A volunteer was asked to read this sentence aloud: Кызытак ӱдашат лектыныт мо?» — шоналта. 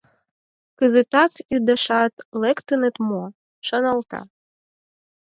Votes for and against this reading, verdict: 2, 4, rejected